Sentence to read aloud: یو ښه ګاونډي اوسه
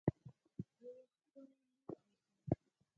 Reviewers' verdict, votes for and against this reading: rejected, 2, 4